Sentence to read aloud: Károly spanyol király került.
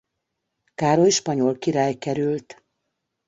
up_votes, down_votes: 2, 0